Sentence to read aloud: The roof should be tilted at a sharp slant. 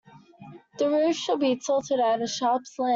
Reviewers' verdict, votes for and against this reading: rejected, 0, 3